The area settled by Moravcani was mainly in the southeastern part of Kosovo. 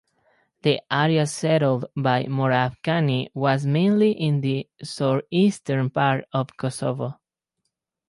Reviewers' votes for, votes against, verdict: 0, 2, rejected